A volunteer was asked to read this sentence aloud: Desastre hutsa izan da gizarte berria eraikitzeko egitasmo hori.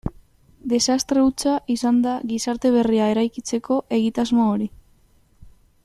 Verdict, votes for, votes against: accepted, 2, 0